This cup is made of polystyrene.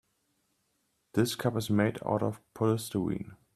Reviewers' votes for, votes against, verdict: 1, 2, rejected